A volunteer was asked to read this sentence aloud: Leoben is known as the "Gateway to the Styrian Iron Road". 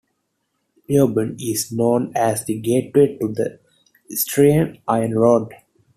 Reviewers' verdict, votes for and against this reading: rejected, 0, 2